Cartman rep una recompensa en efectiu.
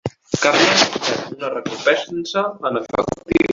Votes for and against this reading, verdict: 0, 2, rejected